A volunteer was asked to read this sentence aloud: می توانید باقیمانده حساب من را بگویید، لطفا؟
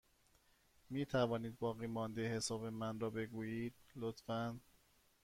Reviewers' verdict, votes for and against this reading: accepted, 2, 1